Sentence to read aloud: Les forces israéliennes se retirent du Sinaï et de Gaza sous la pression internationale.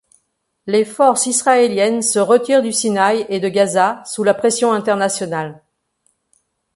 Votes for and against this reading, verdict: 2, 0, accepted